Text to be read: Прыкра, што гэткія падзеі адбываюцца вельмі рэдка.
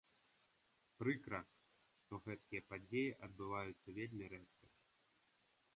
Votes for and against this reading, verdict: 0, 2, rejected